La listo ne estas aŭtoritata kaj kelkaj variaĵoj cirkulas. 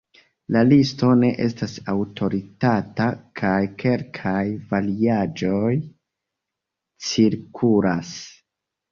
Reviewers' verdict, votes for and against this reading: rejected, 1, 2